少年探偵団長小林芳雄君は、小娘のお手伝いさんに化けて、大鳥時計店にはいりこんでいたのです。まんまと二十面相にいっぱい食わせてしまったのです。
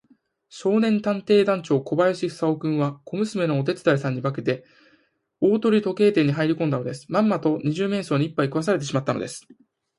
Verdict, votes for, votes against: accepted, 2, 0